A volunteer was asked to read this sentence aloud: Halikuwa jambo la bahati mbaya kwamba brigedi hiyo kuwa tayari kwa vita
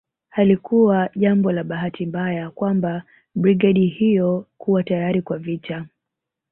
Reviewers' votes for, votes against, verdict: 3, 0, accepted